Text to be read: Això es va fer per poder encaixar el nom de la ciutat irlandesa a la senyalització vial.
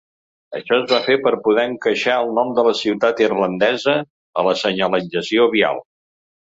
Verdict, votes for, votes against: accepted, 2, 0